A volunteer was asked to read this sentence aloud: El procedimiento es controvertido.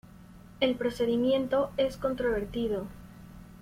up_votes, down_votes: 2, 0